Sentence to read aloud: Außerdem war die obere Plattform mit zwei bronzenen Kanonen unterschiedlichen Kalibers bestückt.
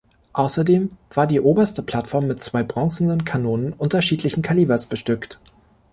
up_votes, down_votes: 0, 2